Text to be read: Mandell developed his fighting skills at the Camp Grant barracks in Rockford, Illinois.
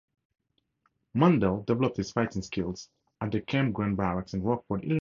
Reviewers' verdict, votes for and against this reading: rejected, 0, 2